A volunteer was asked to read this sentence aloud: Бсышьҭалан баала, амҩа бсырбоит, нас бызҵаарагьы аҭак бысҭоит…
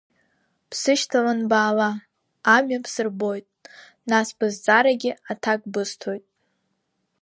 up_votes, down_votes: 0, 2